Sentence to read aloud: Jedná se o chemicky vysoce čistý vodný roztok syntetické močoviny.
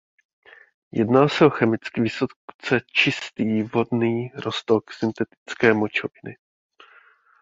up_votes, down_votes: 0, 2